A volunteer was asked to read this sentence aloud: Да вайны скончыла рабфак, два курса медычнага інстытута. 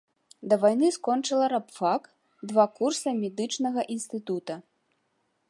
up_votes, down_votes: 2, 0